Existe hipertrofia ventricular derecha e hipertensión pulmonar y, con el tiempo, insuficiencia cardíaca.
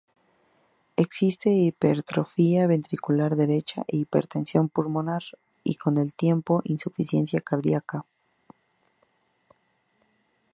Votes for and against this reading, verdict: 8, 0, accepted